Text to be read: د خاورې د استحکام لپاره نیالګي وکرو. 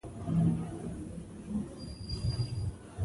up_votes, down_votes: 2, 1